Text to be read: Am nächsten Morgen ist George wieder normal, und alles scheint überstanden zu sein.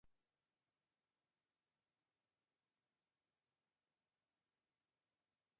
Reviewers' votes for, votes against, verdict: 0, 2, rejected